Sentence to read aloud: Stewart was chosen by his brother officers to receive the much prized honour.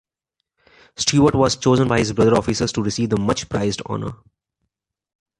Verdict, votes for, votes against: accepted, 2, 1